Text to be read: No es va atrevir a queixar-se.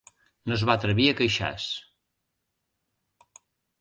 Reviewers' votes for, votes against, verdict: 0, 2, rejected